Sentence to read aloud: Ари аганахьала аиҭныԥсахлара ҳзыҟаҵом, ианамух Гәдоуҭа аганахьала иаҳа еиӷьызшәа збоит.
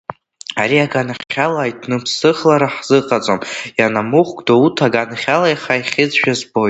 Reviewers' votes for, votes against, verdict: 1, 2, rejected